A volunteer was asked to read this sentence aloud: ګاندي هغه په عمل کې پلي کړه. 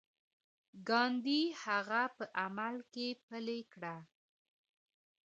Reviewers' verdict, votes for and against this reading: rejected, 0, 2